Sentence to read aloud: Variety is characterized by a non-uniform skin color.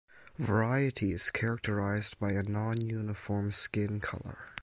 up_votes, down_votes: 4, 0